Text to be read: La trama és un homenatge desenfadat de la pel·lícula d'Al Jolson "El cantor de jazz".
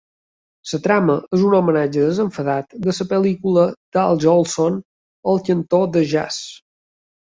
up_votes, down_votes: 2, 0